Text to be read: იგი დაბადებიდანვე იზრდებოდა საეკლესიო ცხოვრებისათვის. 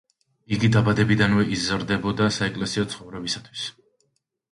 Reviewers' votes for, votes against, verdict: 2, 0, accepted